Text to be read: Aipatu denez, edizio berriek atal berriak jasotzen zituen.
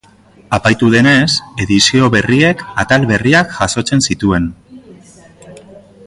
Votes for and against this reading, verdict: 1, 2, rejected